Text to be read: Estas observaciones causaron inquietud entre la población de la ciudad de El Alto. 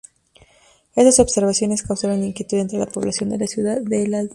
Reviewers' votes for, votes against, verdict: 0, 2, rejected